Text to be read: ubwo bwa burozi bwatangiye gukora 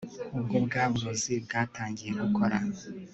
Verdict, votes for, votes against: accepted, 3, 0